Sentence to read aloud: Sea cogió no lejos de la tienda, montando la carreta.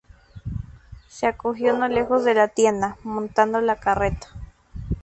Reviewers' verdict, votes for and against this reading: rejected, 0, 2